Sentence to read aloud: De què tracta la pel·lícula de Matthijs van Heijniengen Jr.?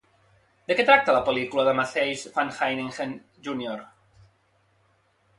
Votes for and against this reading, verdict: 1, 2, rejected